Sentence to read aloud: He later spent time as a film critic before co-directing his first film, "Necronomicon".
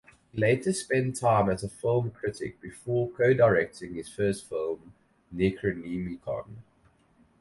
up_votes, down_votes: 2, 4